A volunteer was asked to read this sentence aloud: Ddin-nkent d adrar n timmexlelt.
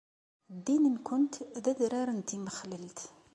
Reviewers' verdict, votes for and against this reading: accepted, 2, 0